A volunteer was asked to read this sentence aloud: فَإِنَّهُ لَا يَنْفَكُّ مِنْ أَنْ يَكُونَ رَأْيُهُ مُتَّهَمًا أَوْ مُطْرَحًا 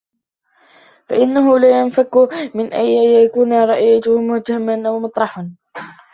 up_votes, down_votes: 0, 2